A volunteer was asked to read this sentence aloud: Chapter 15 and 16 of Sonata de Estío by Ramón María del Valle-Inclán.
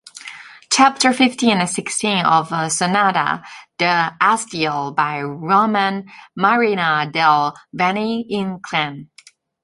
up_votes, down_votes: 0, 2